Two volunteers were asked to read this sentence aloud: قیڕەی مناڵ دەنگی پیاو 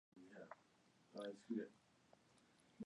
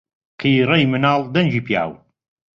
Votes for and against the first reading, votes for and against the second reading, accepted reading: 0, 2, 2, 0, second